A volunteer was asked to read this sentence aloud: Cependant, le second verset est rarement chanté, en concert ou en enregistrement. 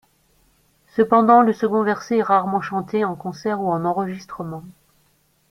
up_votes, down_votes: 2, 0